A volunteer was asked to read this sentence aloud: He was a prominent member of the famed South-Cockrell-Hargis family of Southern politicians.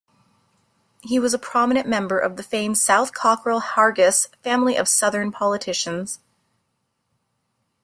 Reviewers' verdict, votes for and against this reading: accepted, 2, 0